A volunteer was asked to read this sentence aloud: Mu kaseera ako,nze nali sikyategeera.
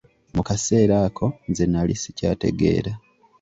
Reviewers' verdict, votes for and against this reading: accepted, 2, 0